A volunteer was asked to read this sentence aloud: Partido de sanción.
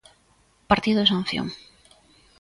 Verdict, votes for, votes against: accepted, 2, 0